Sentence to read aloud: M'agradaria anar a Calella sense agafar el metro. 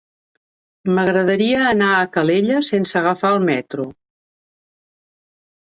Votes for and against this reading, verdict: 2, 0, accepted